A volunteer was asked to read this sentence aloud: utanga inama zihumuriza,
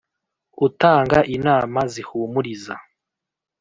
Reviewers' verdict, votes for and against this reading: accepted, 2, 0